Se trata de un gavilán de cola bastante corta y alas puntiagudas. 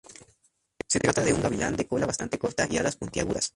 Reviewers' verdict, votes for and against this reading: accepted, 2, 0